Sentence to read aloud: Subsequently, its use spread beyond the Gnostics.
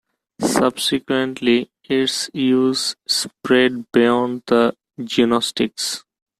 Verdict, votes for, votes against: rejected, 0, 2